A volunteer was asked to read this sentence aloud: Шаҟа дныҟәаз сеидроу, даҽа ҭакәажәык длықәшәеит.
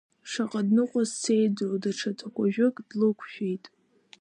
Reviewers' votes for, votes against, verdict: 0, 2, rejected